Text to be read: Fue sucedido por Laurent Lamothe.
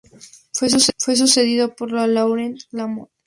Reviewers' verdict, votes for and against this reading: rejected, 0, 2